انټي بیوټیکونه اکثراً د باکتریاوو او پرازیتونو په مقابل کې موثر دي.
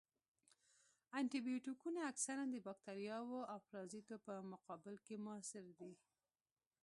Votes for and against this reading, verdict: 0, 2, rejected